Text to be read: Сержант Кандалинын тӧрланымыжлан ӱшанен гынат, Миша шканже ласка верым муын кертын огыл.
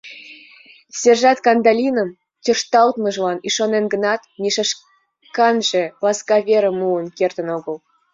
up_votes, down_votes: 2, 0